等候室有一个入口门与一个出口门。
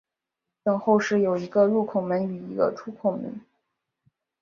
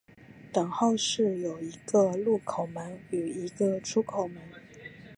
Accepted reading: first